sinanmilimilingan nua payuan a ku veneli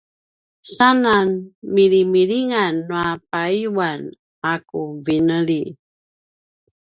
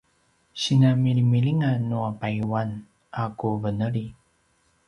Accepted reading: second